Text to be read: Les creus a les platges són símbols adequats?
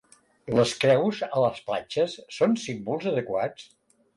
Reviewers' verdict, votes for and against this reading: accepted, 3, 0